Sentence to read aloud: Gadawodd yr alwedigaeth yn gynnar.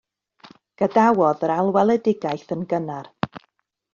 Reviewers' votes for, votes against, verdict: 1, 2, rejected